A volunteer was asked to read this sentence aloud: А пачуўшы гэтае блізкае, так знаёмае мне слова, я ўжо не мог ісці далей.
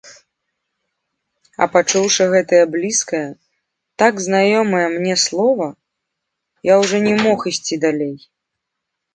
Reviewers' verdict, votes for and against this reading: rejected, 2, 3